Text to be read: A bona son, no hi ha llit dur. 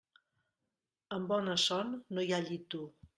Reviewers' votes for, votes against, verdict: 0, 2, rejected